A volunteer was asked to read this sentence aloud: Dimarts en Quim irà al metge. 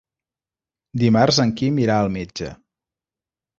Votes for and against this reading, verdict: 3, 0, accepted